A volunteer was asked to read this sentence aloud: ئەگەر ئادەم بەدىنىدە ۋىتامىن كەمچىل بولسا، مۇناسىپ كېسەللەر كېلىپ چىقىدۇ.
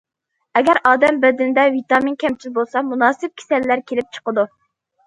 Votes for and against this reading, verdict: 2, 0, accepted